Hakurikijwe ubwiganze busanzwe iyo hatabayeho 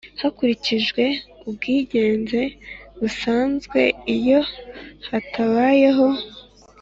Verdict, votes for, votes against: accepted, 4, 0